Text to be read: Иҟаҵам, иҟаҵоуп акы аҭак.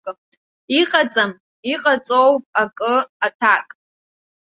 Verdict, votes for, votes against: rejected, 1, 2